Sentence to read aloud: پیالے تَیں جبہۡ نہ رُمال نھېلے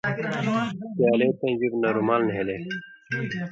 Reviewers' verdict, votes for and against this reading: rejected, 0, 2